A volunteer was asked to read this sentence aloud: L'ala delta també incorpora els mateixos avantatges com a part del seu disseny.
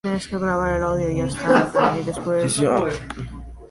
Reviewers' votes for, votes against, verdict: 0, 2, rejected